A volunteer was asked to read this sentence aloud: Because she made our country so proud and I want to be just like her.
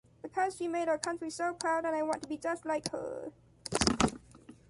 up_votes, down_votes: 2, 0